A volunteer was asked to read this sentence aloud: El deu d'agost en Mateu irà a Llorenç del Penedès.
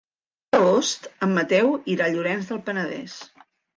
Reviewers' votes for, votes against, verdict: 1, 2, rejected